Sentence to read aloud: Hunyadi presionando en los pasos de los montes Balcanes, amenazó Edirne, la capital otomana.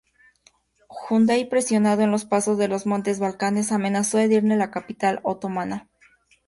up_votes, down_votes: 4, 0